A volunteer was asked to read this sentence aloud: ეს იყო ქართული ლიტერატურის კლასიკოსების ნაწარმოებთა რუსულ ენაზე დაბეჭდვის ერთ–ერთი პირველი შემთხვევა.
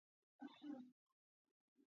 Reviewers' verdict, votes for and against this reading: rejected, 1, 2